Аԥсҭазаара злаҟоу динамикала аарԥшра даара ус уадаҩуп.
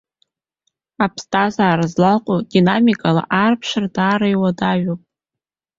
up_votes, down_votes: 0, 2